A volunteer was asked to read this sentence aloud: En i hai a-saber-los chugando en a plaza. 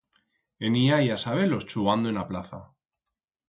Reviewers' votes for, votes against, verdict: 2, 4, rejected